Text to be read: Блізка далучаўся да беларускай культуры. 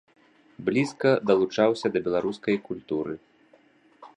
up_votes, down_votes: 2, 0